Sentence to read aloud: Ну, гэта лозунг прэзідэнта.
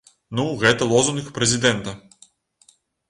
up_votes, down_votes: 2, 0